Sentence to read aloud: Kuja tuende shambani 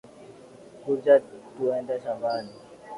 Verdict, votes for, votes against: accepted, 6, 4